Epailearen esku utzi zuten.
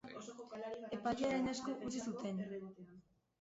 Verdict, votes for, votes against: rejected, 0, 2